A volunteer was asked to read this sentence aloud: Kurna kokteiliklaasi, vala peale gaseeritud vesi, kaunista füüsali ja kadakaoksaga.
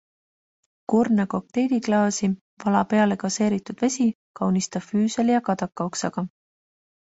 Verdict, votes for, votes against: accepted, 2, 0